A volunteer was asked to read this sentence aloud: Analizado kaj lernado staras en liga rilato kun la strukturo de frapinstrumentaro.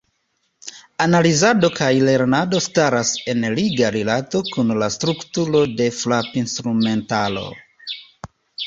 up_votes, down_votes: 2, 0